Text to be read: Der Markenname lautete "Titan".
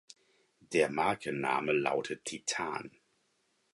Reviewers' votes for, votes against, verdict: 2, 4, rejected